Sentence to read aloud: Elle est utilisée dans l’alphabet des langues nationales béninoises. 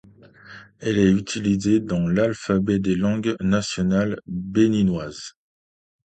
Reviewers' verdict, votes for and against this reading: accepted, 2, 0